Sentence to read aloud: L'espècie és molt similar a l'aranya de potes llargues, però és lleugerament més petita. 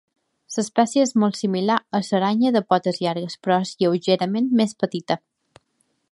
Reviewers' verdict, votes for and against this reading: rejected, 0, 2